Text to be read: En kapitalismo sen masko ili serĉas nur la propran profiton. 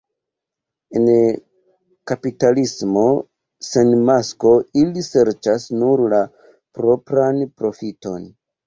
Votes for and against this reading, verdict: 1, 2, rejected